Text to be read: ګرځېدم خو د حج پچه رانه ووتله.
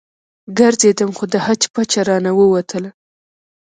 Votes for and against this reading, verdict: 1, 2, rejected